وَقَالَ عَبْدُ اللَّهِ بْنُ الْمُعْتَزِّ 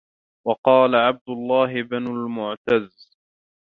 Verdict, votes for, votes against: rejected, 0, 2